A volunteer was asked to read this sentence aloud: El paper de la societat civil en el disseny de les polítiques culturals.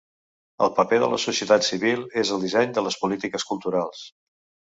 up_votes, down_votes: 0, 2